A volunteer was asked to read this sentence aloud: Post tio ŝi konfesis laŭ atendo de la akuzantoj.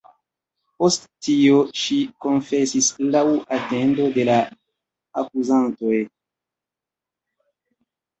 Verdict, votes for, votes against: rejected, 0, 2